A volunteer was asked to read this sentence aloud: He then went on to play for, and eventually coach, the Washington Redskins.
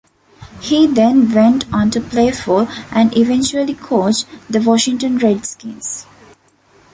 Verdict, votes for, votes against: accepted, 2, 0